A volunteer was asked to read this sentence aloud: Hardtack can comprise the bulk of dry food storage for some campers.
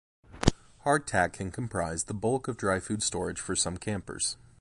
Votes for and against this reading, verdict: 2, 0, accepted